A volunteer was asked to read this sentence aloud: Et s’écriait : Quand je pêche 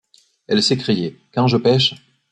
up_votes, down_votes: 1, 2